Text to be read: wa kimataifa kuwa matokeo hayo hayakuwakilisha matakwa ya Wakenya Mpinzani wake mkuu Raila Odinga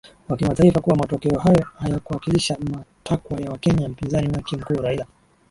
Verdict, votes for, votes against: rejected, 1, 2